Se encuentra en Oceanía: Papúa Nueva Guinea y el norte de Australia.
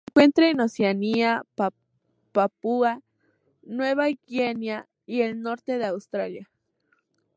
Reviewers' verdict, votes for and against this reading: rejected, 0, 2